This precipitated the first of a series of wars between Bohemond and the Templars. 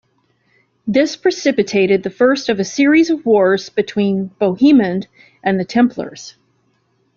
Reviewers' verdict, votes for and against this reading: accepted, 2, 0